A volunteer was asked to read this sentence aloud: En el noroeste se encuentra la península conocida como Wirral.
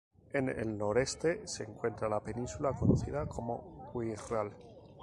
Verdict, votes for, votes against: rejected, 0, 2